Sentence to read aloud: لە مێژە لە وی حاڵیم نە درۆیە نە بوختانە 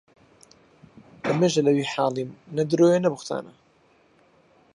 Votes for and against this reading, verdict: 4, 0, accepted